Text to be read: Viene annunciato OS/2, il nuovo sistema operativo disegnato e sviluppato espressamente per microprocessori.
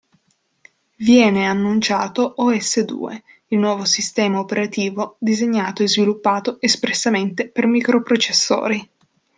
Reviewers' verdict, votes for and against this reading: rejected, 0, 2